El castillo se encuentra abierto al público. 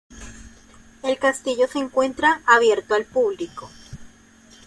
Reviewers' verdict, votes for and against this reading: rejected, 1, 2